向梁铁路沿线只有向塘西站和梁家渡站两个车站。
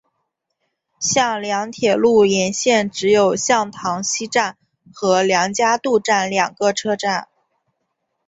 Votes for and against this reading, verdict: 2, 0, accepted